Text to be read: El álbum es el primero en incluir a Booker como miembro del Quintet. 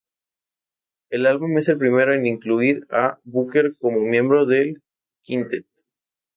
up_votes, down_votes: 0, 2